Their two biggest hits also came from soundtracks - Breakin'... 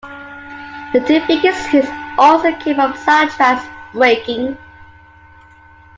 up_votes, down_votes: 1, 2